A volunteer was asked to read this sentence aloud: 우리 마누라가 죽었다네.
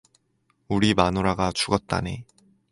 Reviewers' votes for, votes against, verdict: 4, 0, accepted